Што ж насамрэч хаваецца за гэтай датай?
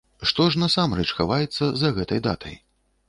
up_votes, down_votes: 1, 2